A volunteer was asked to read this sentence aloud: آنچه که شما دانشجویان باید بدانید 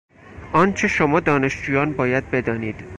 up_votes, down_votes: 0, 4